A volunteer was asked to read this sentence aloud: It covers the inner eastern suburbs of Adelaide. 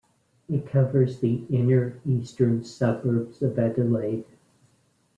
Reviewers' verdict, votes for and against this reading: accepted, 2, 0